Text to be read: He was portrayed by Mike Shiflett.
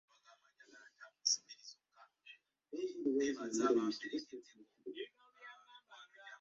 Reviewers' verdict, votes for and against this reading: rejected, 0, 2